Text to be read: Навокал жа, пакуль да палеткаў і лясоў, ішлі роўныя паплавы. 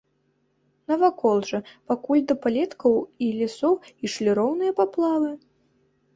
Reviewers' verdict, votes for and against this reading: rejected, 2, 3